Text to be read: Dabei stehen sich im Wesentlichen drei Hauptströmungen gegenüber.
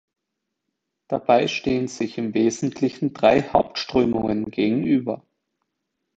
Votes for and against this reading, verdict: 2, 1, accepted